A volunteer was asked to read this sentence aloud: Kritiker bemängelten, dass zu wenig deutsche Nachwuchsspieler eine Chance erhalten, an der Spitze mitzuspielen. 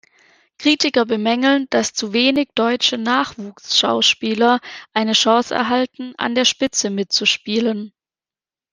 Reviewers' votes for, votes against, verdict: 0, 2, rejected